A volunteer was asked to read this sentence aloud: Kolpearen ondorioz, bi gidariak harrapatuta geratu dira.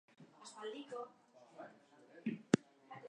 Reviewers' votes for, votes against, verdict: 0, 2, rejected